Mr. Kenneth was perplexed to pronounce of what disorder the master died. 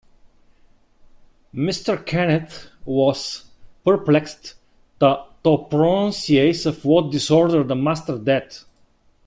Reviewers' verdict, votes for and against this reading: rejected, 0, 2